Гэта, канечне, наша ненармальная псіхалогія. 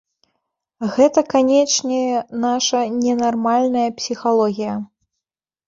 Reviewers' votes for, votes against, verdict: 1, 2, rejected